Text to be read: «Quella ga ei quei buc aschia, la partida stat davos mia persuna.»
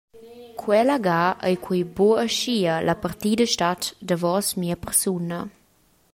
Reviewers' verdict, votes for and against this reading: accepted, 2, 0